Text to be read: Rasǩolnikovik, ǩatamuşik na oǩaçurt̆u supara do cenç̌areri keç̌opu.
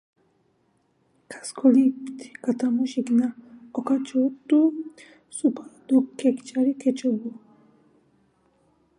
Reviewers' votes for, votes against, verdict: 2, 4, rejected